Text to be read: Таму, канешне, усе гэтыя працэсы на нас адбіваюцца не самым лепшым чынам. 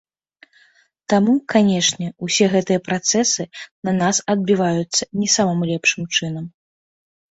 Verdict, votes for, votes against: accepted, 2, 0